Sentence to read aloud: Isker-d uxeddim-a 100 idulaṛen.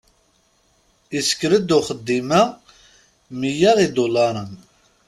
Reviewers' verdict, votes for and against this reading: rejected, 0, 2